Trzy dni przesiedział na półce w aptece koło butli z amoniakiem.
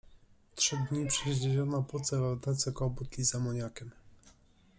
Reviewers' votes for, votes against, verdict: 0, 2, rejected